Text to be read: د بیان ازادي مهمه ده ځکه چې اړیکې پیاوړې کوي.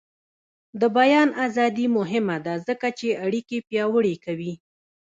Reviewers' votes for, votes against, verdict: 1, 2, rejected